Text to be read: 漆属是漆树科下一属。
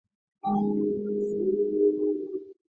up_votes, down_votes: 1, 2